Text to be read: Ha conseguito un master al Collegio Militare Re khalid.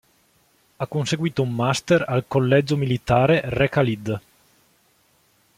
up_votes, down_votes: 2, 0